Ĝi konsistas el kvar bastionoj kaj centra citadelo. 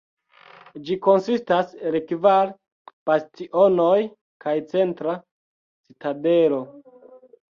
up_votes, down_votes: 1, 2